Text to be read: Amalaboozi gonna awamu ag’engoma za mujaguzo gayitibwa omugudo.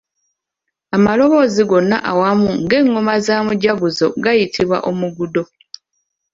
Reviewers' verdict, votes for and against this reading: rejected, 0, 2